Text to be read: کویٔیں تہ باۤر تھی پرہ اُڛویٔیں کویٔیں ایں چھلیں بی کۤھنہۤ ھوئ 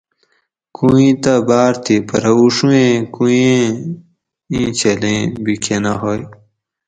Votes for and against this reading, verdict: 4, 0, accepted